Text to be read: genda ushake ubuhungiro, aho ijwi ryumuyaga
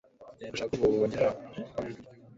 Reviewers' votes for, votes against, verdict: 1, 2, rejected